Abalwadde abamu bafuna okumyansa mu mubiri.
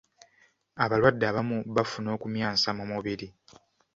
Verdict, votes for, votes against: accepted, 2, 0